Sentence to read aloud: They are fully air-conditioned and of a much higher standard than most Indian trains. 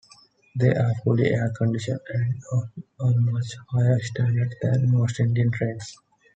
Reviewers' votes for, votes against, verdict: 2, 1, accepted